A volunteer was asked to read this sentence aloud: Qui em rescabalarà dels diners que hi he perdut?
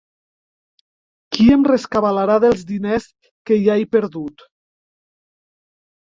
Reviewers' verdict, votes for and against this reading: rejected, 0, 2